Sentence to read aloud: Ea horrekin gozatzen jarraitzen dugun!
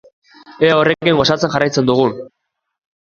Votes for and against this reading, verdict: 2, 0, accepted